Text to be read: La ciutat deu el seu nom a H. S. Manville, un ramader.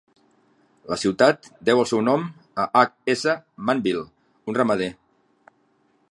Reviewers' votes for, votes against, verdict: 5, 0, accepted